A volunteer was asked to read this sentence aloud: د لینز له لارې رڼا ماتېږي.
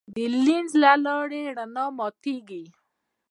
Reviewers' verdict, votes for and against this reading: rejected, 0, 2